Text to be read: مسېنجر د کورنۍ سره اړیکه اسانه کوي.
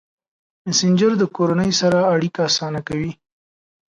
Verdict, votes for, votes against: accepted, 3, 0